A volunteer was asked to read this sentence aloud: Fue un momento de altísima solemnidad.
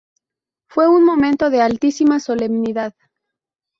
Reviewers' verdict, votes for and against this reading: rejected, 0, 2